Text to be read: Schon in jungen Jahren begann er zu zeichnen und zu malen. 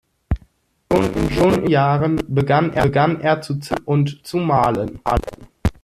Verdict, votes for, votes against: rejected, 0, 2